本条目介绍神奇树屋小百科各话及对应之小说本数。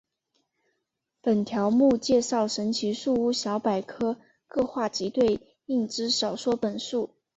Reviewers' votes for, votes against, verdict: 2, 0, accepted